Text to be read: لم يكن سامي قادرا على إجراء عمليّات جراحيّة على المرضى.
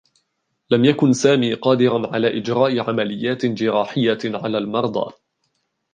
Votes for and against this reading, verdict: 1, 2, rejected